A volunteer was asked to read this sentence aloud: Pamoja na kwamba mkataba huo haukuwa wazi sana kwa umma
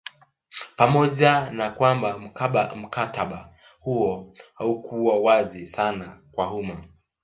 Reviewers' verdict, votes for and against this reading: rejected, 1, 2